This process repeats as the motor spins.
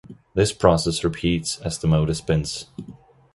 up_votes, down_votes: 2, 0